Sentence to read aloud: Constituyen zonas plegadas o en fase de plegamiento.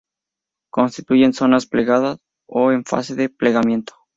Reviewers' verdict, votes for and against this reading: accepted, 2, 0